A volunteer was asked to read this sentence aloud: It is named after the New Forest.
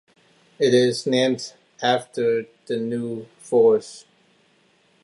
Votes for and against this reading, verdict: 2, 0, accepted